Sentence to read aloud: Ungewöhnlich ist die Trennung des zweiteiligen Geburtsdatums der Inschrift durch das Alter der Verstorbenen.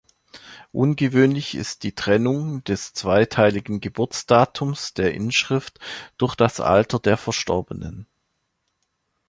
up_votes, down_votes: 2, 0